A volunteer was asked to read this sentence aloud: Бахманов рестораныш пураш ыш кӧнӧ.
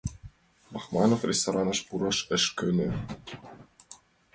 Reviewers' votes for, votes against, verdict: 2, 0, accepted